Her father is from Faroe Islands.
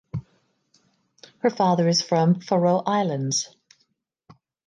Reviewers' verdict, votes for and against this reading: accepted, 2, 0